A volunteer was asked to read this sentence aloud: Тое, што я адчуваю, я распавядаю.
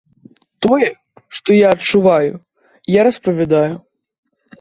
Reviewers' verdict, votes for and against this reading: accepted, 2, 0